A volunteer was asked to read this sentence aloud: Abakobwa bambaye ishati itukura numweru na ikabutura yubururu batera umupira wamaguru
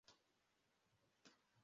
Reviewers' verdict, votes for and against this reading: rejected, 0, 2